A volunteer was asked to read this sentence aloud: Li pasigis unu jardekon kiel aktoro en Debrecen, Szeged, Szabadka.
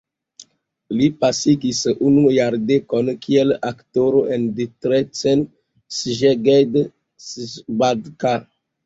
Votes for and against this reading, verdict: 2, 3, rejected